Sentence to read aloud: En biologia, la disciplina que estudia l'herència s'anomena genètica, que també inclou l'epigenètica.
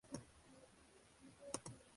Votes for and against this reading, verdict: 0, 2, rejected